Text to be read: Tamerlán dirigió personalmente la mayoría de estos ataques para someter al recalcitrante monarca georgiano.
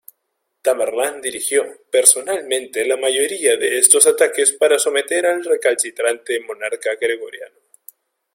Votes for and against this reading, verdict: 1, 2, rejected